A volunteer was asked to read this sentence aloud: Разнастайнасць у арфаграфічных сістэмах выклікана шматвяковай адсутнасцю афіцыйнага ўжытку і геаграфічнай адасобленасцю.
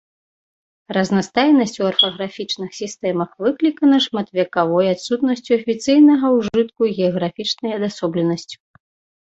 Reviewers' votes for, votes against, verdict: 1, 2, rejected